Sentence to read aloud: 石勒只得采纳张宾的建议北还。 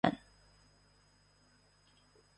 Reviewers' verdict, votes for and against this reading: rejected, 1, 3